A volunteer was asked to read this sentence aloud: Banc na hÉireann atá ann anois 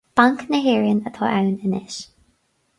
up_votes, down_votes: 2, 2